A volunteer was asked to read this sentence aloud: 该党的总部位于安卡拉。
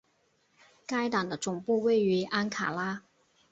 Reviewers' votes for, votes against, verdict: 2, 0, accepted